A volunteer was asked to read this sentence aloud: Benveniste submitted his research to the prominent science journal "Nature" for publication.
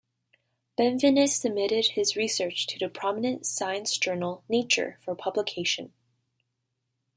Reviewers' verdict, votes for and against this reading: rejected, 1, 2